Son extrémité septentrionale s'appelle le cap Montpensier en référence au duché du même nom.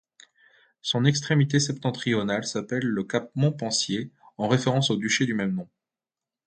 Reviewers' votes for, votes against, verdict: 2, 0, accepted